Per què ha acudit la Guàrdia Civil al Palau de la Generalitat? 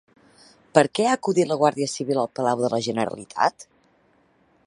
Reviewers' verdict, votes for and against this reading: accepted, 2, 0